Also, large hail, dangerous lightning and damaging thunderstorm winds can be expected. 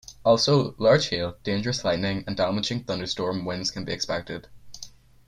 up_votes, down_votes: 4, 0